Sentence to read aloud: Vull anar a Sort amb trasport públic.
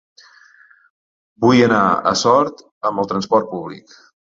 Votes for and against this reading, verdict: 1, 2, rejected